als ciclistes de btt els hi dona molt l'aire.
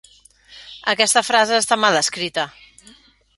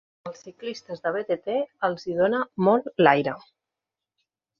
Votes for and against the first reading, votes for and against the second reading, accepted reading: 0, 2, 3, 0, second